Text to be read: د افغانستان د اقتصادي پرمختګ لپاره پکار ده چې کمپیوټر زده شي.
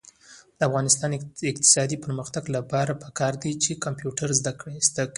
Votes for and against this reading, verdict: 1, 2, rejected